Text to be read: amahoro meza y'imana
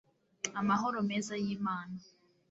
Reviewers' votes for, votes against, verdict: 2, 0, accepted